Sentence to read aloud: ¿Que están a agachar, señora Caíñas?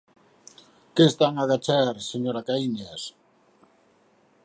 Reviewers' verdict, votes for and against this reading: accepted, 4, 0